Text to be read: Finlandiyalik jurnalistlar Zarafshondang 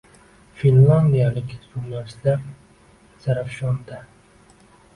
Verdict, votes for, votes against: rejected, 0, 2